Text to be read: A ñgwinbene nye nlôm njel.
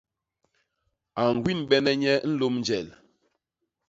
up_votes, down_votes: 2, 0